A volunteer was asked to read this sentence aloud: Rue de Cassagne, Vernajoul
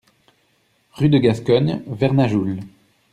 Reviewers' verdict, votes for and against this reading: rejected, 0, 2